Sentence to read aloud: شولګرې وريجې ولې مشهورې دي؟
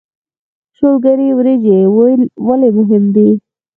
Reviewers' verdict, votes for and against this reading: rejected, 2, 4